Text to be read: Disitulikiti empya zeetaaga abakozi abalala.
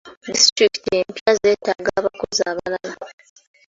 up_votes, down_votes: 3, 1